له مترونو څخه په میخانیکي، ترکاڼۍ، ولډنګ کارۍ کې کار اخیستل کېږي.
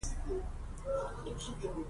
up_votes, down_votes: 0, 3